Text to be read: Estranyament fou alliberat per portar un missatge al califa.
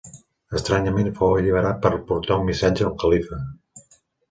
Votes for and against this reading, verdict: 2, 1, accepted